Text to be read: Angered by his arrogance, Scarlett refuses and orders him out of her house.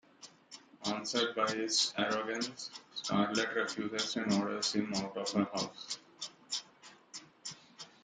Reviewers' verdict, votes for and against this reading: rejected, 1, 2